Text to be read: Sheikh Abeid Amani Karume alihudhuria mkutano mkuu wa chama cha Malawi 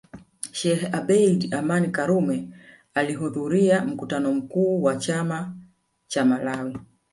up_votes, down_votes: 1, 2